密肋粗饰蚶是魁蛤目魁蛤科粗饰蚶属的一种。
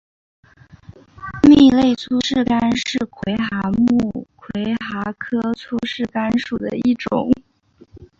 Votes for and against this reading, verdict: 3, 2, accepted